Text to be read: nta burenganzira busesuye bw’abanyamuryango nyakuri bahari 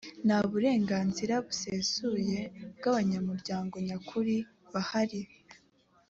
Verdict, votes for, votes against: accepted, 3, 0